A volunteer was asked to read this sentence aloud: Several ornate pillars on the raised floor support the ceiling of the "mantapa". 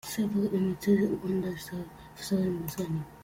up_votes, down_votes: 0, 2